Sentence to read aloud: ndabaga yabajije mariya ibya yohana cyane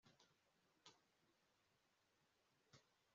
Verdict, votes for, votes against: rejected, 0, 2